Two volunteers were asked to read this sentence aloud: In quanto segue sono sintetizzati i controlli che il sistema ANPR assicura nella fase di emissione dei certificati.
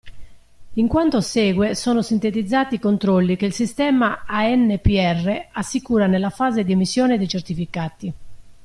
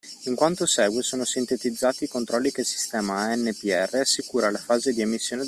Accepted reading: first